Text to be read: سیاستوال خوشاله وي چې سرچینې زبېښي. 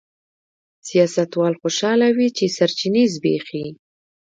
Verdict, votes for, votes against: rejected, 1, 2